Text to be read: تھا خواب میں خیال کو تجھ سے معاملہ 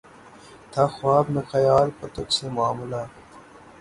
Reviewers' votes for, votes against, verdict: 6, 3, accepted